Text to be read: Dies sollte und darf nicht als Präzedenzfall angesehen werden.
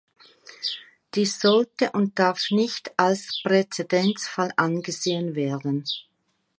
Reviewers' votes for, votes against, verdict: 3, 1, accepted